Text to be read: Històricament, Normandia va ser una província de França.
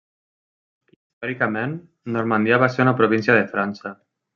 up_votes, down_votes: 1, 2